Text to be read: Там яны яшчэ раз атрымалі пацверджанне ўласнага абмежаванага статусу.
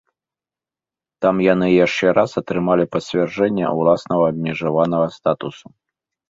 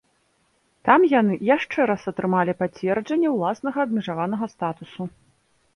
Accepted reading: second